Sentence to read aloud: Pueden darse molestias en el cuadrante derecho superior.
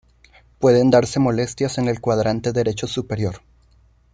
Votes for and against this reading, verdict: 2, 0, accepted